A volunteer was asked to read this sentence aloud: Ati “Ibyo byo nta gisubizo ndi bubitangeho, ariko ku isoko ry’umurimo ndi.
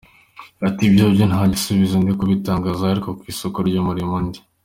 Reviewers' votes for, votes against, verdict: 0, 2, rejected